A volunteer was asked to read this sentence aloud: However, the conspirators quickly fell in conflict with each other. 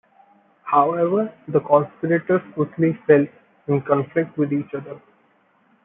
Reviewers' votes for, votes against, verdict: 2, 0, accepted